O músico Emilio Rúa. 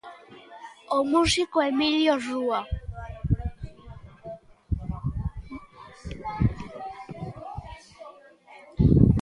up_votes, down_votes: 1, 2